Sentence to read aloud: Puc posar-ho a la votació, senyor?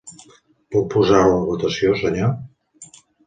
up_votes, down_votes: 1, 2